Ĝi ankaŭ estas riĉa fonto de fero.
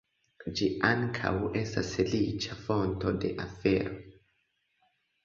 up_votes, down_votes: 2, 1